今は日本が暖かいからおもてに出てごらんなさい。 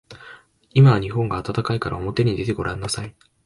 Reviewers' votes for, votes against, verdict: 3, 0, accepted